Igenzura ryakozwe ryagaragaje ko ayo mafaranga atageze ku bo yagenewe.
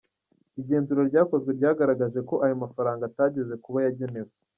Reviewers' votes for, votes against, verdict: 2, 0, accepted